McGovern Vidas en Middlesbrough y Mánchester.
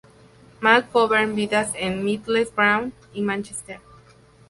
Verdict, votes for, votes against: accepted, 2, 0